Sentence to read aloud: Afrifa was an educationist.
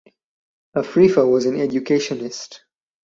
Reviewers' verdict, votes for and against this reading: accepted, 4, 0